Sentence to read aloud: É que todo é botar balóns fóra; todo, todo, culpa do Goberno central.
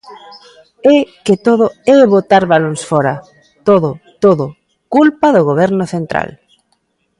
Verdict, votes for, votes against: accepted, 2, 0